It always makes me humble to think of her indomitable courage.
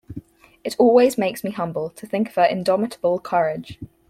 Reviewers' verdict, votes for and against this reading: accepted, 4, 0